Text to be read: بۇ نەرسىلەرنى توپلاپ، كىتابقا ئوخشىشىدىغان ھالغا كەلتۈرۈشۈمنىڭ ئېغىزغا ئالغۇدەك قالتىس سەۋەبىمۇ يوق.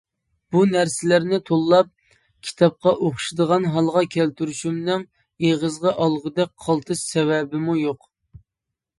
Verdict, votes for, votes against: rejected, 0, 2